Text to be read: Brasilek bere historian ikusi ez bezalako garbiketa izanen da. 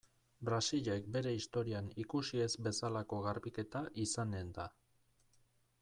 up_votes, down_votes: 1, 2